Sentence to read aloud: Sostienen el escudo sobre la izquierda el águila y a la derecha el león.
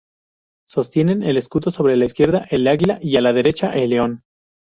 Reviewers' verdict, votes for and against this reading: rejected, 0, 2